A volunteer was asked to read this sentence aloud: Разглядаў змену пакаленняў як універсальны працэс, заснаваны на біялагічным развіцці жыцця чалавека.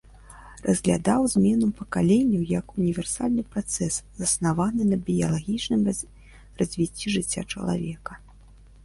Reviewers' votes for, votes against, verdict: 1, 2, rejected